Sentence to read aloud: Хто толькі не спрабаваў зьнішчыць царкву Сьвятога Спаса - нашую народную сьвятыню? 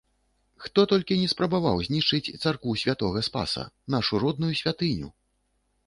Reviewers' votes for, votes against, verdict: 1, 2, rejected